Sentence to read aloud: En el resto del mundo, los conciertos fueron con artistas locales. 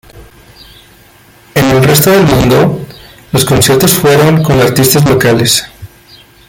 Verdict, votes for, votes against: rejected, 0, 2